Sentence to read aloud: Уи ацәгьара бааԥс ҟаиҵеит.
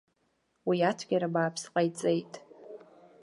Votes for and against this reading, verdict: 2, 1, accepted